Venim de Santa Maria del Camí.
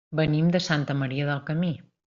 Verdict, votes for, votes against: accepted, 3, 0